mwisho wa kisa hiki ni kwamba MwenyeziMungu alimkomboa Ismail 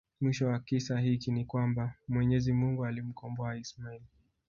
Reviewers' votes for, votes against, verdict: 1, 2, rejected